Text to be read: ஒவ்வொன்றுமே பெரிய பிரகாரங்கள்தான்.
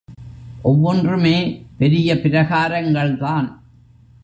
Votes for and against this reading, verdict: 2, 0, accepted